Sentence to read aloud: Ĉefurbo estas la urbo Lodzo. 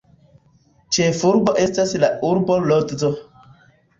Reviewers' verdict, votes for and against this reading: accepted, 2, 0